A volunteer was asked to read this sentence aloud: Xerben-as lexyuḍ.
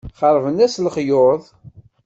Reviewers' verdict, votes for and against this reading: accepted, 2, 0